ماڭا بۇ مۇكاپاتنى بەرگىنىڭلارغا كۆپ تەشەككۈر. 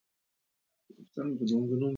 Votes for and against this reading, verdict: 0, 2, rejected